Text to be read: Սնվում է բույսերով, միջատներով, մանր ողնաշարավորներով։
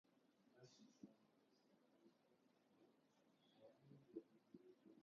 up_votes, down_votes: 0, 2